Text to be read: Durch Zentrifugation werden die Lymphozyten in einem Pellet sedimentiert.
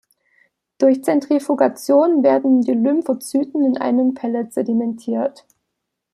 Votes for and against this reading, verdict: 2, 0, accepted